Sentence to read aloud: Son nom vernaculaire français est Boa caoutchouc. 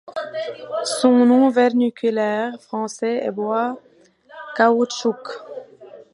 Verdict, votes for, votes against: rejected, 1, 2